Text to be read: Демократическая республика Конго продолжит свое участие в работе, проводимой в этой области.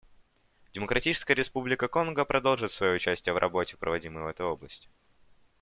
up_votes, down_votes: 2, 0